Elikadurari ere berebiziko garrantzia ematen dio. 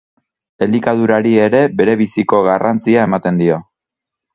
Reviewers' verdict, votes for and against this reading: accepted, 6, 0